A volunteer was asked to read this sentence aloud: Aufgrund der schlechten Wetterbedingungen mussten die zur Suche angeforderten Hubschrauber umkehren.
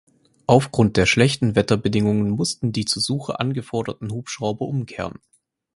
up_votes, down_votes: 4, 0